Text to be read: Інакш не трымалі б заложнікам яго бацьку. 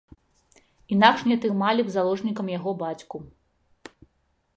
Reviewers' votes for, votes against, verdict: 2, 0, accepted